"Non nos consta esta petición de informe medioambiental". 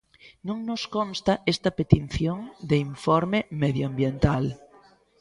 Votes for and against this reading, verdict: 0, 2, rejected